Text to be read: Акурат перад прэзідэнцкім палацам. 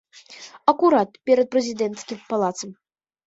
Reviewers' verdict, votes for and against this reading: accepted, 2, 1